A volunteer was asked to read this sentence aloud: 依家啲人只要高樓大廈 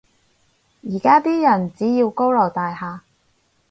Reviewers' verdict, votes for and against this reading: rejected, 2, 2